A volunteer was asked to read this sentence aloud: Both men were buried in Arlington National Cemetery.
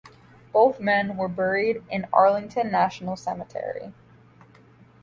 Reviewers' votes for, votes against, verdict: 2, 1, accepted